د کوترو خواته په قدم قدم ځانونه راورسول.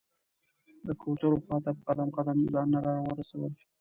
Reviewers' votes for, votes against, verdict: 0, 2, rejected